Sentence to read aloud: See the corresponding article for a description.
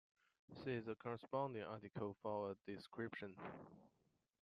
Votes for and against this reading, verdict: 0, 2, rejected